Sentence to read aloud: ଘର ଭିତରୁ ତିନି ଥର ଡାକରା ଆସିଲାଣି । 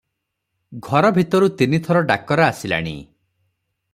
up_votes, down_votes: 3, 0